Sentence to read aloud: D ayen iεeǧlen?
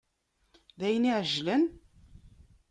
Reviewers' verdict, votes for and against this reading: rejected, 0, 2